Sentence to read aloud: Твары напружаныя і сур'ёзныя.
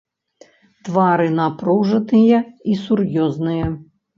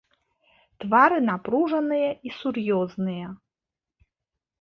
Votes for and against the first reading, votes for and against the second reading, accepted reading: 1, 2, 2, 1, second